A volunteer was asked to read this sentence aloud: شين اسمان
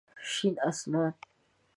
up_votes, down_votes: 2, 0